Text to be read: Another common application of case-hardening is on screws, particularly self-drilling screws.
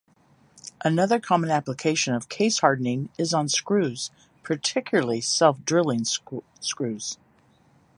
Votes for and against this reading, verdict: 3, 2, accepted